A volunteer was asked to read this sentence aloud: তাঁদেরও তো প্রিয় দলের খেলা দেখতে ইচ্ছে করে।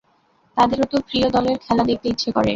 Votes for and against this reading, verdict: 2, 0, accepted